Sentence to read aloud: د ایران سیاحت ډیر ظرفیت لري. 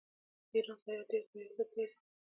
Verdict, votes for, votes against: rejected, 0, 2